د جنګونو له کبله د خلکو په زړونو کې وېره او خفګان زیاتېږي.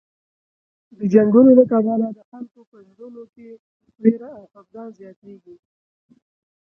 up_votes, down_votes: 0, 2